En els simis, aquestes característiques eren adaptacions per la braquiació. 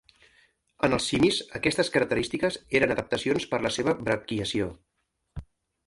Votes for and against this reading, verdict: 1, 2, rejected